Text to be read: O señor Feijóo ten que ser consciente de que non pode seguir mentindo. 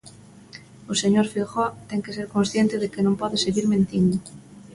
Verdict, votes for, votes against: accepted, 2, 0